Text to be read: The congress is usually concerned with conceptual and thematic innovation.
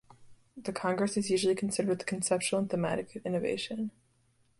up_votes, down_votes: 1, 2